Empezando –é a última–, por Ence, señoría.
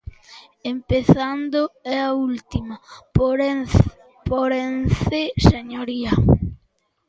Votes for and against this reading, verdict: 0, 2, rejected